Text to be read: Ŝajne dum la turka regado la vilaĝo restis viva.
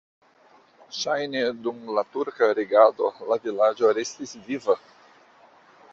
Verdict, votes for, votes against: accepted, 2, 0